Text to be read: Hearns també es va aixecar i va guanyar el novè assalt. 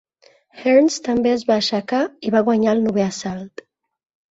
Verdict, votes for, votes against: rejected, 1, 2